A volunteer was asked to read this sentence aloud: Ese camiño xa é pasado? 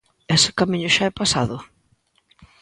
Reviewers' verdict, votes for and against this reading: rejected, 0, 2